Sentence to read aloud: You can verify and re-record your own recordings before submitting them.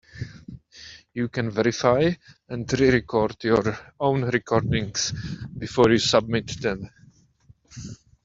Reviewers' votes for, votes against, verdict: 0, 2, rejected